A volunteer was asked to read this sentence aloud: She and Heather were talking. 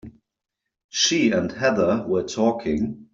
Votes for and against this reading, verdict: 3, 0, accepted